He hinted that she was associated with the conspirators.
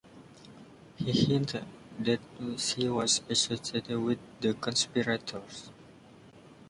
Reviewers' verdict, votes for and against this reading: rejected, 1, 2